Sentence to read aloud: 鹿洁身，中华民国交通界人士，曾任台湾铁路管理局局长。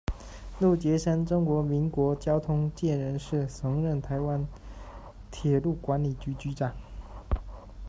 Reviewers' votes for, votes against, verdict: 2, 1, accepted